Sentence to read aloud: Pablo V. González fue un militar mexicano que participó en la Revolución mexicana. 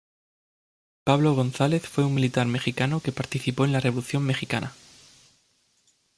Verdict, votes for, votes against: rejected, 0, 2